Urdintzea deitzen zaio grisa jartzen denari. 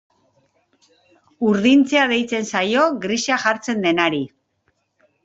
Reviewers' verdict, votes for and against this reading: accepted, 2, 0